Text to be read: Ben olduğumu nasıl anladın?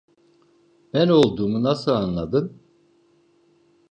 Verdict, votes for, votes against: accepted, 2, 0